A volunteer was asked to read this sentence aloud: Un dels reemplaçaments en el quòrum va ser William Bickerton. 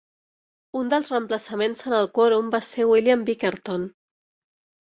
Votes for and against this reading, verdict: 3, 0, accepted